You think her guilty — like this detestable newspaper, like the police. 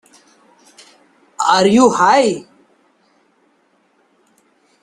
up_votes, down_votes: 0, 2